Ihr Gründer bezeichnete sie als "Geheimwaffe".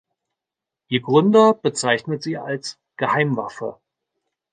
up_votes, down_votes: 0, 2